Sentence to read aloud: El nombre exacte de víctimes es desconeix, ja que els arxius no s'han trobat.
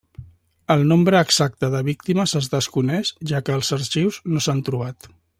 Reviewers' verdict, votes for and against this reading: accepted, 3, 0